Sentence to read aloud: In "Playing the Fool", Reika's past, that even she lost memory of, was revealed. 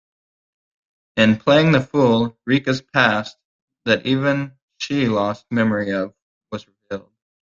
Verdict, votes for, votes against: rejected, 1, 2